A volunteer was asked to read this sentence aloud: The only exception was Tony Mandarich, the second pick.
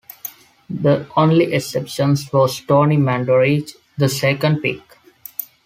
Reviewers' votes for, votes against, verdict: 2, 0, accepted